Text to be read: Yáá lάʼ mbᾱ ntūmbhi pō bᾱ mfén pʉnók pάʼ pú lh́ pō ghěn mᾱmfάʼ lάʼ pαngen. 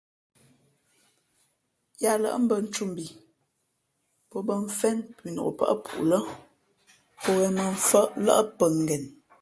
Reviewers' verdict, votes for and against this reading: accepted, 3, 0